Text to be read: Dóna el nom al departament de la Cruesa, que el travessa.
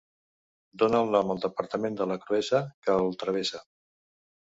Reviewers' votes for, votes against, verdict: 3, 0, accepted